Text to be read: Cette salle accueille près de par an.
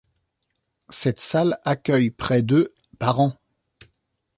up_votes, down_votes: 2, 0